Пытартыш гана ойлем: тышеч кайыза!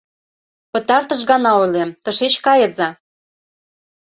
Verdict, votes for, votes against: accepted, 2, 0